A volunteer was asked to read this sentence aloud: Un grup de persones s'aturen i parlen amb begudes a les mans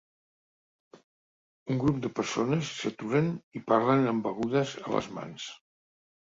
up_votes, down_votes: 2, 0